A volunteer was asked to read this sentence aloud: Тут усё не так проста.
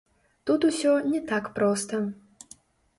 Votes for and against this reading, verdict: 0, 2, rejected